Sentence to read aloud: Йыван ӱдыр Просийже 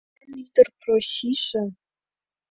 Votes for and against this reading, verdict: 1, 3, rejected